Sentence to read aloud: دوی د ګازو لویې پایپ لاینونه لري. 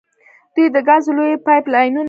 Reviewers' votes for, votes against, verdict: 1, 2, rejected